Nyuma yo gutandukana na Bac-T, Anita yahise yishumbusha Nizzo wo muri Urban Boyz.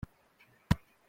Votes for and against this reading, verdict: 0, 3, rejected